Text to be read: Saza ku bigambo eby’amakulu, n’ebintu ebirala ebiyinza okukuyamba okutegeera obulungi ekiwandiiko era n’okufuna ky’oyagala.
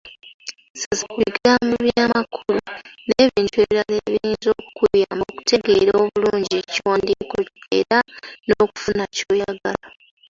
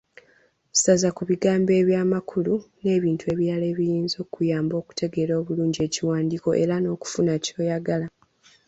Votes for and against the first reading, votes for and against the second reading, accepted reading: 0, 2, 2, 0, second